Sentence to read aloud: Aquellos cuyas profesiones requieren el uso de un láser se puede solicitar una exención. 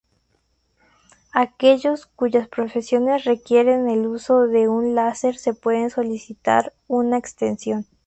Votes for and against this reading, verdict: 2, 2, rejected